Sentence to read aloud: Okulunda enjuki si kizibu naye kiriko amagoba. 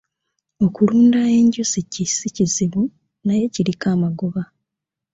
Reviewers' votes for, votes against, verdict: 0, 2, rejected